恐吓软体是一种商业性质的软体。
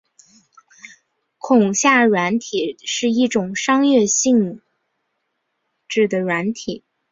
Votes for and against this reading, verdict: 7, 2, accepted